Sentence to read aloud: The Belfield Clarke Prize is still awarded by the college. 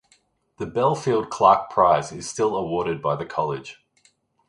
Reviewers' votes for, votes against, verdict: 2, 0, accepted